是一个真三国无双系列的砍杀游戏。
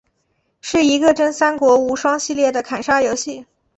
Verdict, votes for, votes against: accepted, 2, 0